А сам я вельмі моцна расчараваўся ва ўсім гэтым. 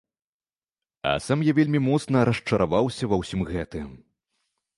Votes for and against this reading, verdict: 2, 0, accepted